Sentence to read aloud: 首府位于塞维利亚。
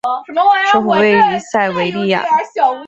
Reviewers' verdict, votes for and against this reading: accepted, 2, 0